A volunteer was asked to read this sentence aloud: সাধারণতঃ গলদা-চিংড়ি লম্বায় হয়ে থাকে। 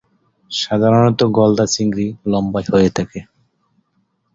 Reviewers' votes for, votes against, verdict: 7, 1, accepted